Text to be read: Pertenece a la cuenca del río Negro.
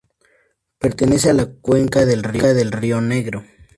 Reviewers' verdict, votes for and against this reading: rejected, 0, 2